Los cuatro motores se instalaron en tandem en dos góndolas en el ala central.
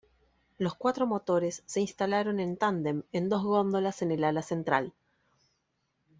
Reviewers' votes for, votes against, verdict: 2, 0, accepted